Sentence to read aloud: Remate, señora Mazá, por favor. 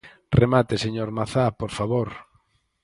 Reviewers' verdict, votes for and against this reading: rejected, 0, 4